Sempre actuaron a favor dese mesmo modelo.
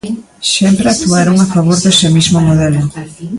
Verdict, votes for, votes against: rejected, 0, 2